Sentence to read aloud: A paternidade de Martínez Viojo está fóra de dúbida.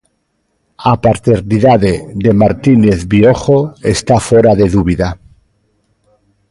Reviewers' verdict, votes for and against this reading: accepted, 2, 1